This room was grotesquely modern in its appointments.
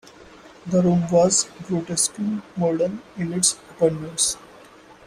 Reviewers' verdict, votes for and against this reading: rejected, 1, 2